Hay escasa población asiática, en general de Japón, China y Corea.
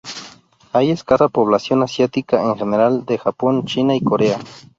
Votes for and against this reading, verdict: 2, 2, rejected